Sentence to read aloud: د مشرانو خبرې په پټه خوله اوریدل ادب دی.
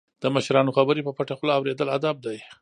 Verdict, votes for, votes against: rejected, 1, 2